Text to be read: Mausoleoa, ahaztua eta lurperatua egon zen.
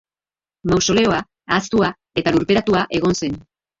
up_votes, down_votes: 0, 2